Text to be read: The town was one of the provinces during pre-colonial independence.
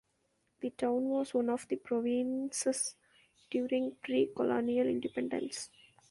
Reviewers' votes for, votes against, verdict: 1, 2, rejected